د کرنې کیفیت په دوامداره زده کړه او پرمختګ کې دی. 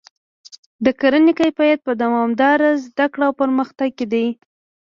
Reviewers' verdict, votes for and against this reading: accepted, 2, 0